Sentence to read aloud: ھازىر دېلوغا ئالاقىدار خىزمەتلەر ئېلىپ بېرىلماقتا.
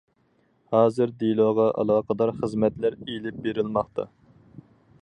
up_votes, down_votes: 4, 0